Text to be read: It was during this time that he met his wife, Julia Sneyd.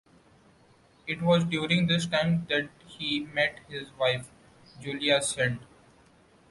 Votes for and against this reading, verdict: 1, 2, rejected